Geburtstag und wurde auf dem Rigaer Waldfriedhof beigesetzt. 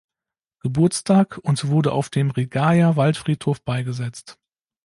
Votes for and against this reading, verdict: 2, 0, accepted